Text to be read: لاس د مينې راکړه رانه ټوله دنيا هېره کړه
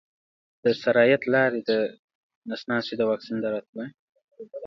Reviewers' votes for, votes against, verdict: 0, 2, rejected